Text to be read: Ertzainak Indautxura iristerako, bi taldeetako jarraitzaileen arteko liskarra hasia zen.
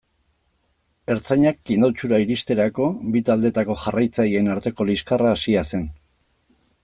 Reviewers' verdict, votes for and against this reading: accepted, 2, 0